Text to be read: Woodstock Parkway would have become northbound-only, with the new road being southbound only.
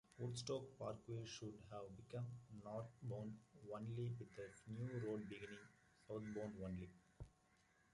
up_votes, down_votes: 1, 2